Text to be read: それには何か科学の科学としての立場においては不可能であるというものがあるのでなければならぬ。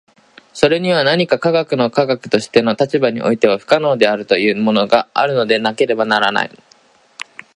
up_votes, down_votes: 0, 2